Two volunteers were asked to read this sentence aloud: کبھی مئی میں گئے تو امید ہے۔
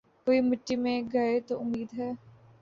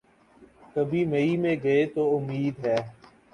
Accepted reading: second